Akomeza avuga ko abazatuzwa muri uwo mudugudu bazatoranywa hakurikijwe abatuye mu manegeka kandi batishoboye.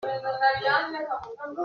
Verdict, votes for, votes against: rejected, 0, 3